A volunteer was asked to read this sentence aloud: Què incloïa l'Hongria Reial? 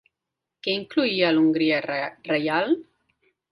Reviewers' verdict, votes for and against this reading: rejected, 1, 2